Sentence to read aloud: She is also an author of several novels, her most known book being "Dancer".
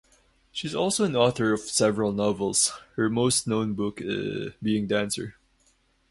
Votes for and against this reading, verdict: 0, 2, rejected